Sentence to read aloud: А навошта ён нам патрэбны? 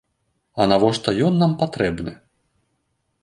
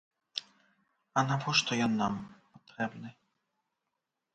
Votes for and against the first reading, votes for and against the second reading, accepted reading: 2, 0, 0, 2, first